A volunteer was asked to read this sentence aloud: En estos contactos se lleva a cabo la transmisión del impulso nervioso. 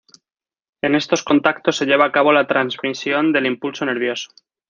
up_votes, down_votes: 2, 0